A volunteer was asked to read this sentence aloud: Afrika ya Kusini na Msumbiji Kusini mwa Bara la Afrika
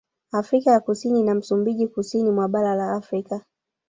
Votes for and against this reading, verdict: 1, 2, rejected